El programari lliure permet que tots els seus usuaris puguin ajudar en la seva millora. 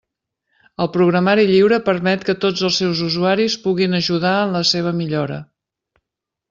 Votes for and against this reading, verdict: 3, 0, accepted